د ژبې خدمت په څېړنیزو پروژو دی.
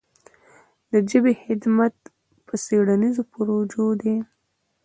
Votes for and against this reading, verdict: 0, 2, rejected